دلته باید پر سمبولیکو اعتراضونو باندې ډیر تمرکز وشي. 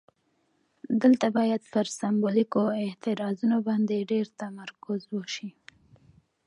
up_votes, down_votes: 2, 0